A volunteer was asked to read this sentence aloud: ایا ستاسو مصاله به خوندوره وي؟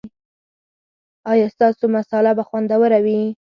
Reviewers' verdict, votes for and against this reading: accepted, 4, 0